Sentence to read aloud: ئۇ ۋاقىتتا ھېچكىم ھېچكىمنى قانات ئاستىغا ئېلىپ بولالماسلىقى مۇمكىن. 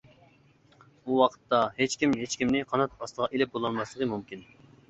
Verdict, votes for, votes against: accepted, 2, 0